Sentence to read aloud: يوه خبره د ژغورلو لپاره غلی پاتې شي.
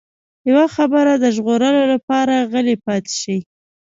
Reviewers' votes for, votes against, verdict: 2, 0, accepted